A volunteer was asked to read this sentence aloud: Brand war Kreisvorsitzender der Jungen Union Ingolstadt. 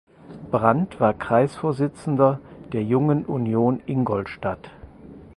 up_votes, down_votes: 4, 0